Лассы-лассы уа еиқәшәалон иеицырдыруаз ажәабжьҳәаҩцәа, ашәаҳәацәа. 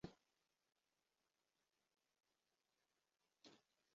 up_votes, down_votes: 0, 2